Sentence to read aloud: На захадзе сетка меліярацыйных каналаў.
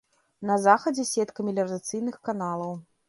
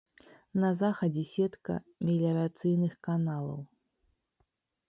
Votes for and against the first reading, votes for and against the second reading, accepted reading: 0, 2, 2, 0, second